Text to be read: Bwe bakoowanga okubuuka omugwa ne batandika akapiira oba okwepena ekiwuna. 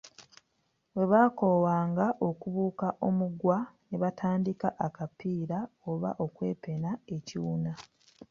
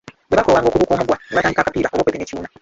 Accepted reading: first